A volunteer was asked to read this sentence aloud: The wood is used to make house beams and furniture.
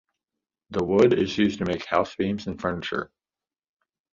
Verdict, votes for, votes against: accepted, 2, 0